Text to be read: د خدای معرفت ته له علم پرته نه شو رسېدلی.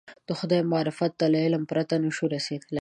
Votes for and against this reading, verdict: 2, 0, accepted